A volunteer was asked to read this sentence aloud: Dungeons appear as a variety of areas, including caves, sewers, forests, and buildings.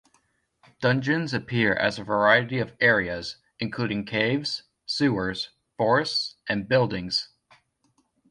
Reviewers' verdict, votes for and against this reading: accepted, 2, 0